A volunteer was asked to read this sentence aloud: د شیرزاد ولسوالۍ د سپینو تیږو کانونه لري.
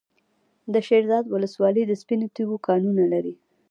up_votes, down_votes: 2, 0